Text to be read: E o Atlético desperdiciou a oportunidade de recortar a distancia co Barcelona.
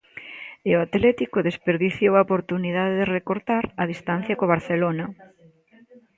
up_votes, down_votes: 1, 2